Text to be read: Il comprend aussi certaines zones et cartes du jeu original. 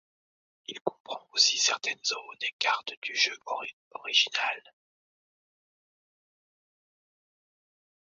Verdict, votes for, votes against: rejected, 0, 2